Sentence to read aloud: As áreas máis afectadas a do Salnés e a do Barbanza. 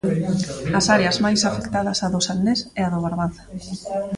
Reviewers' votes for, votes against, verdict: 0, 2, rejected